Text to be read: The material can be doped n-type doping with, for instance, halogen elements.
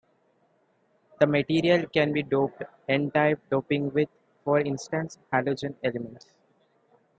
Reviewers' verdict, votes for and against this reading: accepted, 2, 0